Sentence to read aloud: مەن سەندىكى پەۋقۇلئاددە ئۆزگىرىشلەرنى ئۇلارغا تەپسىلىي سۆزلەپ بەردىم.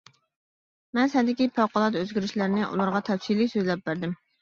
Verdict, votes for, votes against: rejected, 1, 2